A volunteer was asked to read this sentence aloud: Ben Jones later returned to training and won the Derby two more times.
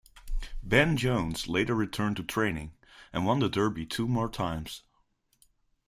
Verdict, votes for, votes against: accepted, 2, 0